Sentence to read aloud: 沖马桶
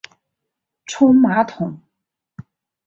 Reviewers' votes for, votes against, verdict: 2, 0, accepted